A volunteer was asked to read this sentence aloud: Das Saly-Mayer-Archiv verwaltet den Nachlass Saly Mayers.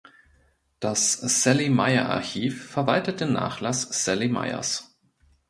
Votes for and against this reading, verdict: 2, 0, accepted